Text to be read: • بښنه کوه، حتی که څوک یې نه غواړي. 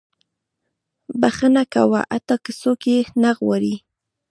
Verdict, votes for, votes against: accepted, 2, 0